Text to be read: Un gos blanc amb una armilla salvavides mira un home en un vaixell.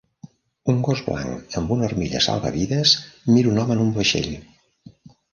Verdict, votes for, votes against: rejected, 1, 2